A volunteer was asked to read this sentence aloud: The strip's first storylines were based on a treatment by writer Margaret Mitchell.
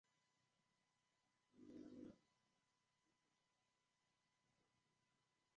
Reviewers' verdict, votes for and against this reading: rejected, 0, 3